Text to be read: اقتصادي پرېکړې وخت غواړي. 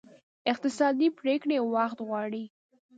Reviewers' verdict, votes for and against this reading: accepted, 2, 0